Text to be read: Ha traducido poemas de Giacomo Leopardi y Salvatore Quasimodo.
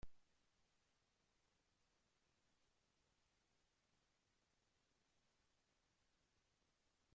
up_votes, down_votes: 0, 2